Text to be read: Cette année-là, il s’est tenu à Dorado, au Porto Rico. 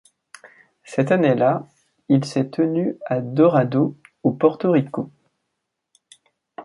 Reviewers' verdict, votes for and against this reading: accepted, 2, 0